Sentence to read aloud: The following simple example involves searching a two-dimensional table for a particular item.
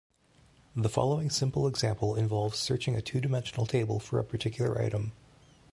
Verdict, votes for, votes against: accepted, 2, 0